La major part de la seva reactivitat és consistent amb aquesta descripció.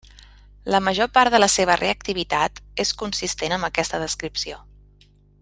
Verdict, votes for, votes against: accepted, 3, 0